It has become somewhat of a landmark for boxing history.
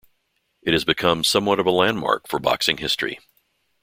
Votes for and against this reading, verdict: 2, 0, accepted